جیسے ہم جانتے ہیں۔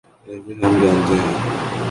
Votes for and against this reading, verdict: 1, 3, rejected